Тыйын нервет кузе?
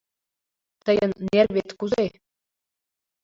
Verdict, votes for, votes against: accepted, 2, 1